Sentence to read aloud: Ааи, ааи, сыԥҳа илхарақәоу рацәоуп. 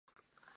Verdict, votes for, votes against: rejected, 0, 2